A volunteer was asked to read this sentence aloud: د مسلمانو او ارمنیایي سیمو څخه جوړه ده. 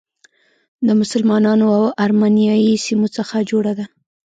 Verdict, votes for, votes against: rejected, 1, 2